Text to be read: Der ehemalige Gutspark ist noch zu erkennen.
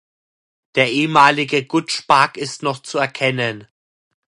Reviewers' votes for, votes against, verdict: 2, 0, accepted